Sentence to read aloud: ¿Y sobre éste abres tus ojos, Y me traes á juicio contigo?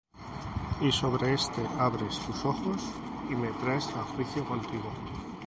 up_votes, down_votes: 0, 2